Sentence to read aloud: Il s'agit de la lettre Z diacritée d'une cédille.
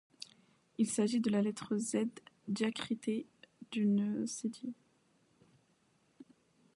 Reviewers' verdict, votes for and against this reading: rejected, 0, 2